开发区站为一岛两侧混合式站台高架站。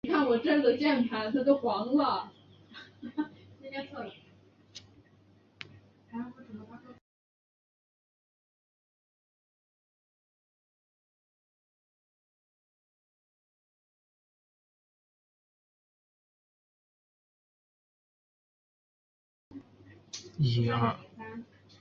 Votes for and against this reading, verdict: 0, 4, rejected